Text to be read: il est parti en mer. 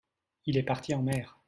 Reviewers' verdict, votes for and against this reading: accepted, 2, 0